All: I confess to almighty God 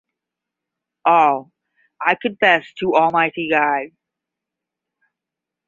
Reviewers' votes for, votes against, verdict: 10, 0, accepted